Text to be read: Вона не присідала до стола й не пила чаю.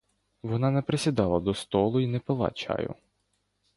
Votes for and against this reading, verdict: 1, 2, rejected